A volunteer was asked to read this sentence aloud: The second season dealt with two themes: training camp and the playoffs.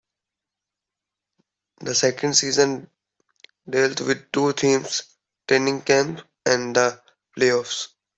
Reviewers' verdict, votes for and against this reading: accepted, 2, 0